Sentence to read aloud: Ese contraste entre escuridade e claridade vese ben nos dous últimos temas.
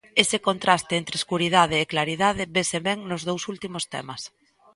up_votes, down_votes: 2, 0